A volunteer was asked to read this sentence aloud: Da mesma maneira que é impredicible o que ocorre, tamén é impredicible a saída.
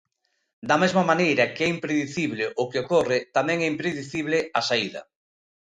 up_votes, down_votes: 2, 0